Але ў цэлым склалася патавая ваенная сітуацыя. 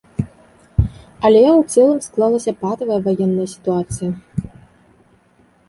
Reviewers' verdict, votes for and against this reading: accepted, 3, 0